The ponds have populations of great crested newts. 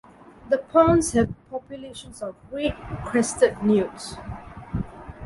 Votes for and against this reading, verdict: 2, 0, accepted